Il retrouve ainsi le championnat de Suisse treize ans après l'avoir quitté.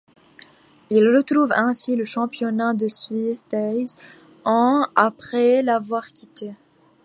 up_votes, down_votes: 2, 1